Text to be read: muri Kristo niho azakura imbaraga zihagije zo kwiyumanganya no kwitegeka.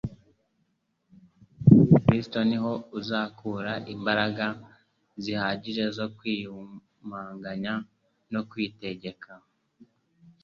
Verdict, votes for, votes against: accepted, 3, 0